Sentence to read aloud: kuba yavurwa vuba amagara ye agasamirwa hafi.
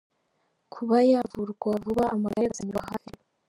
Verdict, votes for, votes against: rejected, 0, 2